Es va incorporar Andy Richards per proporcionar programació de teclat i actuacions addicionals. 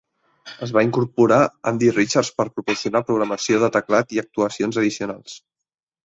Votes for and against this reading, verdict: 2, 0, accepted